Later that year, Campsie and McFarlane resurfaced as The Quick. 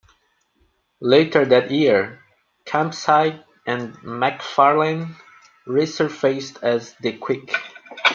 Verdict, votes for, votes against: accepted, 2, 1